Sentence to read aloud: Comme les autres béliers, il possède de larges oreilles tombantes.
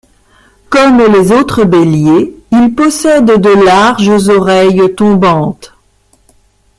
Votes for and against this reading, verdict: 0, 2, rejected